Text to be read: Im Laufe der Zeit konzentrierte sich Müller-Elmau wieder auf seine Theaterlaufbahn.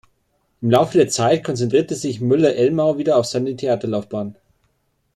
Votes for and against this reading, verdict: 2, 0, accepted